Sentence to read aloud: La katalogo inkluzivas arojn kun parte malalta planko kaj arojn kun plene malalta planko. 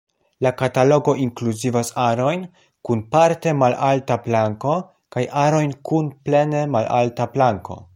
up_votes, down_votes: 2, 0